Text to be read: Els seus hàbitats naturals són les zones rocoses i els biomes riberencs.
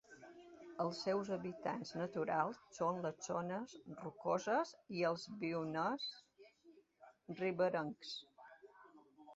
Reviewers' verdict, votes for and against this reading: rejected, 0, 2